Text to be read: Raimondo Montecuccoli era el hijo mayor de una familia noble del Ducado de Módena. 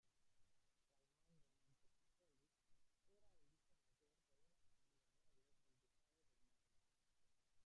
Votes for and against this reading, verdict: 1, 2, rejected